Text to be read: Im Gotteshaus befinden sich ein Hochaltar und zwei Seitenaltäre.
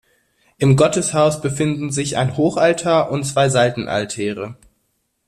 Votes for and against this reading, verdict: 2, 0, accepted